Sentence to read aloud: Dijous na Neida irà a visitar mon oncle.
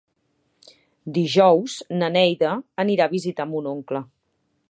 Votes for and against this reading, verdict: 3, 4, rejected